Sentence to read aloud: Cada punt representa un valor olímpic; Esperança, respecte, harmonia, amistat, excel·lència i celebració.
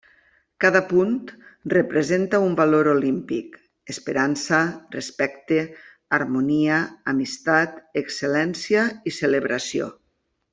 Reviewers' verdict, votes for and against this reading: accepted, 3, 0